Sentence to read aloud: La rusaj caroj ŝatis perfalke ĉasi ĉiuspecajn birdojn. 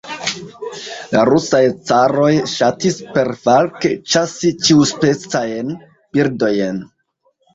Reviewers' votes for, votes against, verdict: 2, 0, accepted